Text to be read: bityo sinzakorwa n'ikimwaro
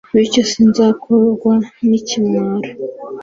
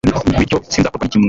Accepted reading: first